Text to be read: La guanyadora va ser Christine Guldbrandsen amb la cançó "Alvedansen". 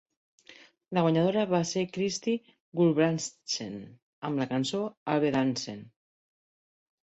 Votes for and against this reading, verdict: 0, 2, rejected